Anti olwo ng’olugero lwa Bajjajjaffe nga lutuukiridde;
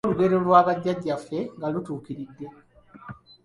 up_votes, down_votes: 0, 2